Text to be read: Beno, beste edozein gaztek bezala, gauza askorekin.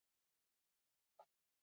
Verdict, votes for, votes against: rejected, 0, 6